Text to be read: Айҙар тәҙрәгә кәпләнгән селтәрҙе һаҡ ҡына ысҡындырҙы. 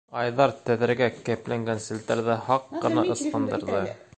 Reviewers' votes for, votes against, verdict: 2, 0, accepted